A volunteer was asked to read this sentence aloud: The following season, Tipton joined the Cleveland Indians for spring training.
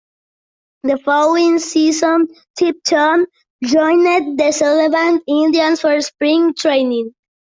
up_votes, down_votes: 0, 2